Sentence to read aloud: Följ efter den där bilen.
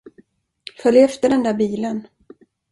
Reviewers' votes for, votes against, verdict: 2, 0, accepted